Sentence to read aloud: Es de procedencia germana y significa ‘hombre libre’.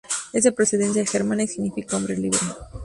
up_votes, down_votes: 2, 0